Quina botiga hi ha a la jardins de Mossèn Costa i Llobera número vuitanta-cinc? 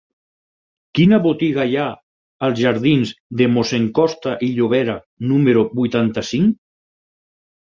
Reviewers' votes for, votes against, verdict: 4, 0, accepted